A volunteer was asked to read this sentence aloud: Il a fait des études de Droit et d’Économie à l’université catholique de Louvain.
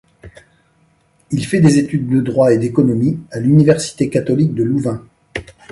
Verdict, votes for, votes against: rejected, 0, 2